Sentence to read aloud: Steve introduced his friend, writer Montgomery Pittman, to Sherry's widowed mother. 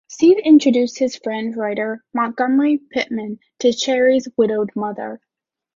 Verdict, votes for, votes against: accepted, 2, 0